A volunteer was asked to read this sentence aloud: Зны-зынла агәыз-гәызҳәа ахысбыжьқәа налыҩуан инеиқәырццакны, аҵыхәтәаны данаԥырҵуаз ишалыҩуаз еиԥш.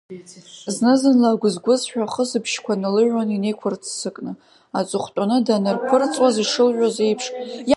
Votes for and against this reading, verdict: 2, 1, accepted